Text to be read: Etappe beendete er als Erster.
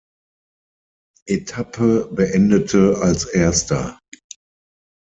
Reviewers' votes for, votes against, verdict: 0, 6, rejected